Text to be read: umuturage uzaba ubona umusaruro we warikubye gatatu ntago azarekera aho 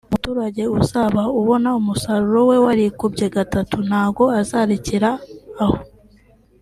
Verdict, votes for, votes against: accepted, 2, 0